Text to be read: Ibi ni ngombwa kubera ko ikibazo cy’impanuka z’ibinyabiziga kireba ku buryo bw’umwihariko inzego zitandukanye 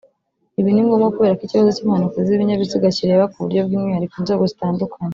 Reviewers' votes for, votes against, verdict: 1, 2, rejected